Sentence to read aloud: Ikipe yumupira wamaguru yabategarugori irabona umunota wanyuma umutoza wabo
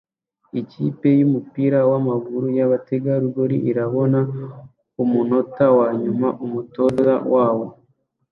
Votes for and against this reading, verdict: 2, 0, accepted